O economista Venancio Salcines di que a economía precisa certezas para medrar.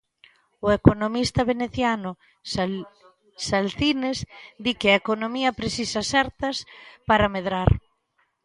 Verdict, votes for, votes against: rejected, 0, 2